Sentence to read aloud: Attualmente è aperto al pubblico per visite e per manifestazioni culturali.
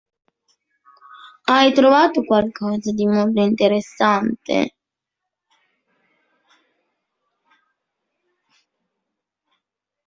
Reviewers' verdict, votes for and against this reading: rejected, 0, 2